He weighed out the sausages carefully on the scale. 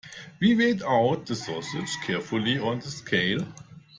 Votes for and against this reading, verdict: 1, 2, rejected